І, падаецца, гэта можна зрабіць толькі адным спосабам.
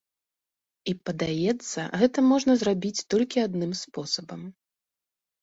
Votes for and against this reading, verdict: 2, 0, accepted